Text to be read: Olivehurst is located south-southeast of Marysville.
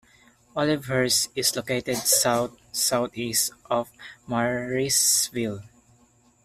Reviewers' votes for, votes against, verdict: 0, 2, rejected